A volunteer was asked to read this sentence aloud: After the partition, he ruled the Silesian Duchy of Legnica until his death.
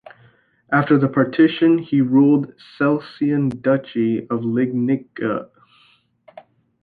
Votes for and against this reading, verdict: 0, 2, rejected